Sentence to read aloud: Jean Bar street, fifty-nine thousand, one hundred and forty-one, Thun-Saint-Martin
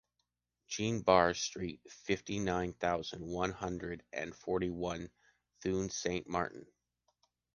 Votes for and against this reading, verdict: 2, 0, accepted